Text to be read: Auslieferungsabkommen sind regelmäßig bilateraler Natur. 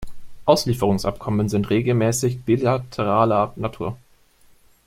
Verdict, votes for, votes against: rejected, 1, 2